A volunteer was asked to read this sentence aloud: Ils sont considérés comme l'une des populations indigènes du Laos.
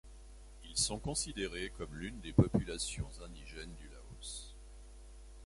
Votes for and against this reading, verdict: 2, 0, accepted